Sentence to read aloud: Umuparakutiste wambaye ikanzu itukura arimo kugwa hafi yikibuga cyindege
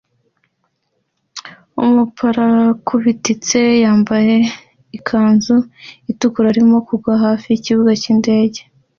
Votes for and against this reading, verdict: 2, 0, accepted